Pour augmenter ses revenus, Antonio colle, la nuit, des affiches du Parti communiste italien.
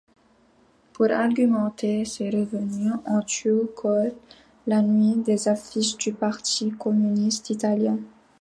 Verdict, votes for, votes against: rejected, 0, 2